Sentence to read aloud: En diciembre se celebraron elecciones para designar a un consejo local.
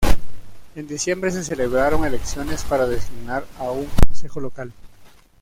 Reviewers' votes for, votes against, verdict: 1, 2, rejected